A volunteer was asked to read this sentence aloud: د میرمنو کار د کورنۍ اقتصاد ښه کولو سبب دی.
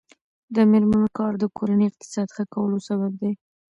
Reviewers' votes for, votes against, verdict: 1, 2, rejected